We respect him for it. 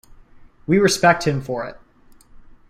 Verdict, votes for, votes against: accepted, 2, 0